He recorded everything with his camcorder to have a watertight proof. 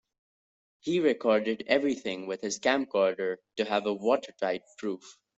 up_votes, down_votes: 2, 0